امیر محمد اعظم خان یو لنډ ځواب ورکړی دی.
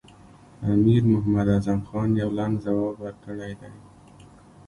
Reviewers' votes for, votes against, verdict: 3, 1, accepted